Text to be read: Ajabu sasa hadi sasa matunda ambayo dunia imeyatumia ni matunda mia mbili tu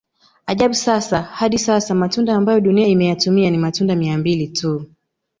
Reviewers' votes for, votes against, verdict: 2, 0, accepted